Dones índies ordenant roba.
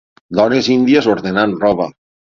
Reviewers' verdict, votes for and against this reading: accepted, 6, 0